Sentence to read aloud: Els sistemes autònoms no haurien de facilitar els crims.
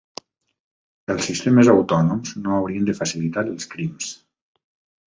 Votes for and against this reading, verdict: 3, 0, accepted